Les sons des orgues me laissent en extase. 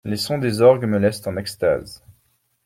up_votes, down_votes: 2, 0